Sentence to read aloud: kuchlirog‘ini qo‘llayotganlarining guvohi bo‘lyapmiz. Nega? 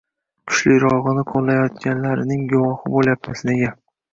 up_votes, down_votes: 2, 0